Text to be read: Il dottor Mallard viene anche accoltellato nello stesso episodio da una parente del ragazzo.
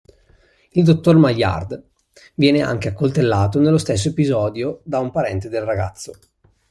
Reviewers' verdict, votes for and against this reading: rejected, 0, 2